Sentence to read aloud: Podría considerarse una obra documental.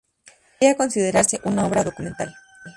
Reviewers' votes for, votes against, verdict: 0, 4, rejected